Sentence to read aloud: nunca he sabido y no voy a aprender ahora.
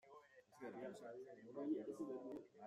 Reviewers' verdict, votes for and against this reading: rejected, 0, 2